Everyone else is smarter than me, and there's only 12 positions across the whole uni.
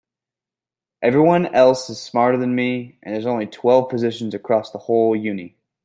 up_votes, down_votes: 0, 2